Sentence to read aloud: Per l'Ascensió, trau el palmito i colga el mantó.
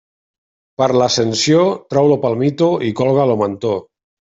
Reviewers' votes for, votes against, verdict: 0, 2, rejected